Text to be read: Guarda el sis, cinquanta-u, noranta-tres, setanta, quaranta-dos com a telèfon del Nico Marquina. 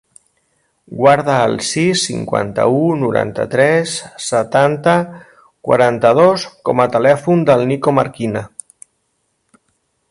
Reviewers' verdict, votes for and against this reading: accepted, 4, 0